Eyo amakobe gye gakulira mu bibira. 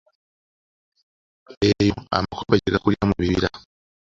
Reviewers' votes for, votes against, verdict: 0, 2, rejected